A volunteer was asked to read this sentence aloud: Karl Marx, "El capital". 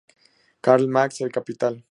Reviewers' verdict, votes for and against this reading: accepted, 2, 0